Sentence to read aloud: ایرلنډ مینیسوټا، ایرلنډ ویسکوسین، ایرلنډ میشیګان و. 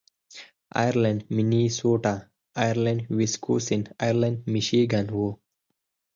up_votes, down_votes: 4, 2